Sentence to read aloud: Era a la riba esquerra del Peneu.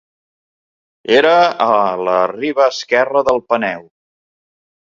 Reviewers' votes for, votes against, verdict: 2, 0, accepted